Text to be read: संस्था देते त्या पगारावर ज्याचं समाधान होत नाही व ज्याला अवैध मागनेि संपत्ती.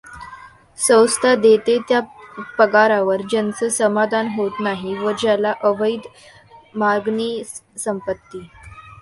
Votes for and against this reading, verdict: 1, 2, rejected